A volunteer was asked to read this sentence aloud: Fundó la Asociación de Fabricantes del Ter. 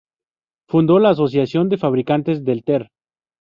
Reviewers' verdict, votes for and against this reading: accepted, 2, 0